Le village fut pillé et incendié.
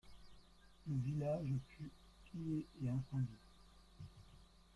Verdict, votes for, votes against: rejected, 1, 2